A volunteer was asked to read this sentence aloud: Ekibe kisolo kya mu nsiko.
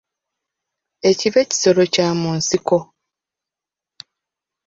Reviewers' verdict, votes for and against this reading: accepted, 2, 1